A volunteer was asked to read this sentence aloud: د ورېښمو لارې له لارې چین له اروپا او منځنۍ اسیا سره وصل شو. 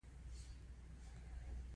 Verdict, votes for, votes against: accepted, 2, 0